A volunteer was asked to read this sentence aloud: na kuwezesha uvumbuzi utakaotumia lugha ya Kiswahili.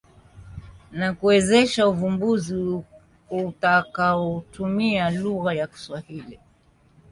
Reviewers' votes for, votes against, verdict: 2, 1, accepted